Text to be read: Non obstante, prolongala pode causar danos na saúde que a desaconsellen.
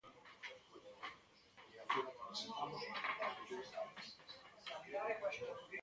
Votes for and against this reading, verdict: 0, 2, rejected